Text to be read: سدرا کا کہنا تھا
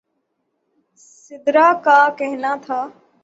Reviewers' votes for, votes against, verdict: 0, 3, rejected